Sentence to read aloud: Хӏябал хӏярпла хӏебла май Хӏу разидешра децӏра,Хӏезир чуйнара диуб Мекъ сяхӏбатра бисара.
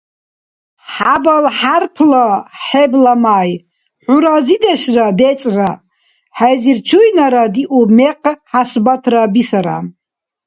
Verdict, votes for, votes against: rejected, 1, 2